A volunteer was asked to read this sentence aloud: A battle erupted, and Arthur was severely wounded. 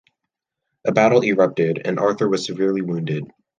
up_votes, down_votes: 2, 0